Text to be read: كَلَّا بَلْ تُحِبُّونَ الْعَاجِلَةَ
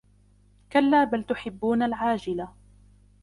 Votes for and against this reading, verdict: 2, 1, accepted